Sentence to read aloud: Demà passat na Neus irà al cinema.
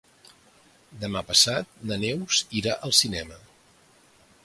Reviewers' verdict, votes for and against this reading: accepted, 2, 0